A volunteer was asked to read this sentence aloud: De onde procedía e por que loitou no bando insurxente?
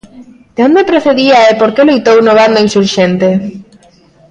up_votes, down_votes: 1, 2